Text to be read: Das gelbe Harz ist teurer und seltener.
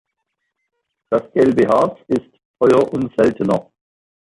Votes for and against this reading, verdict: 1, 2, rejected